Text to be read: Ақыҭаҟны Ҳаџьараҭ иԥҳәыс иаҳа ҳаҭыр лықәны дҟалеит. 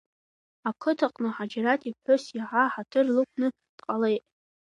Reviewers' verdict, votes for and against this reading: rejected, 1, 2